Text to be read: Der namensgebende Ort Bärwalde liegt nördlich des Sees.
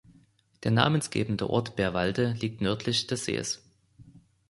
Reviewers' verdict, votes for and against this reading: accepted, 2, 0